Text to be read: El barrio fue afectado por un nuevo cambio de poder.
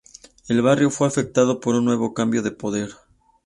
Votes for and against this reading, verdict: 2, 0, accepted